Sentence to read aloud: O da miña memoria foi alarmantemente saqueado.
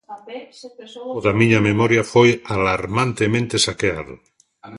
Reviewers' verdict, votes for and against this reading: rejected, 0, 2